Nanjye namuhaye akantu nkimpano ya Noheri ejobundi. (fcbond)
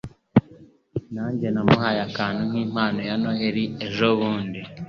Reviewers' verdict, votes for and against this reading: rejected, 1, 2